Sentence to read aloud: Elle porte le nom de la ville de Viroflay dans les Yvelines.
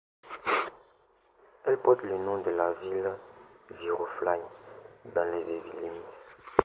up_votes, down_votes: 2, 0